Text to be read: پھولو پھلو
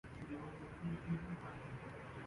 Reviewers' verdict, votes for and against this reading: rejected, 5, 7